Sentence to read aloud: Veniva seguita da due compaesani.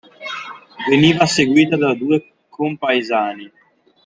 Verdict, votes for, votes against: accepted, 2, 1